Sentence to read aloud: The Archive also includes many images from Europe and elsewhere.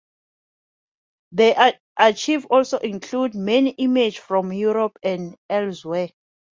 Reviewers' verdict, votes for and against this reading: rejected, 1, 2